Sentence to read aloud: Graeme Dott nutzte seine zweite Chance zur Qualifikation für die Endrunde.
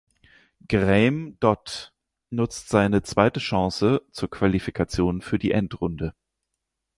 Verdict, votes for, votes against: rejected, 0, 4